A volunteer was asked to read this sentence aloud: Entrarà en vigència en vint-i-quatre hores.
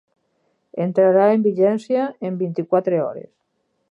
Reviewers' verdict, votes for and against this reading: accepted, 6, 0